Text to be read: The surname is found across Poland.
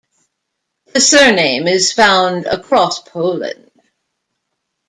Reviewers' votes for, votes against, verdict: 1, 2, rejected